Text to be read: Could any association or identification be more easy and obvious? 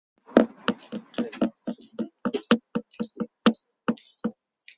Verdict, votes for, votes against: rejected, 0, 2